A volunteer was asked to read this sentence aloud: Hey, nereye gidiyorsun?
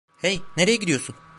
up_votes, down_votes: 2, 0